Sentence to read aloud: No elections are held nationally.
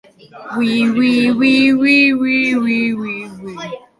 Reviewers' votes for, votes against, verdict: 0, 2, rejected